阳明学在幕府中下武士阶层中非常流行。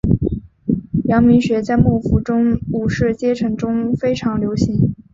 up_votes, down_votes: 0, 2